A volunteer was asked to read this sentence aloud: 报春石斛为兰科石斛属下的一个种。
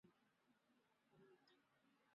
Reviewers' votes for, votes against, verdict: 0, 2, rejected